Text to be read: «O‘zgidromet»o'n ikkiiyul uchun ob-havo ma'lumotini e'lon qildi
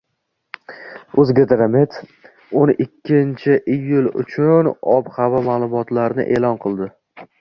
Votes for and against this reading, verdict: 2, 0, accepted